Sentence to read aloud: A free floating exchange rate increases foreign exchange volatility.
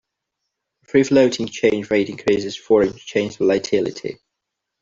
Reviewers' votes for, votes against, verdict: 0, 2, rejected